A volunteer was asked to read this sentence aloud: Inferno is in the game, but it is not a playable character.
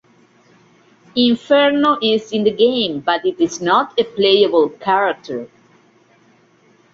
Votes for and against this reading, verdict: 2, 0, accepted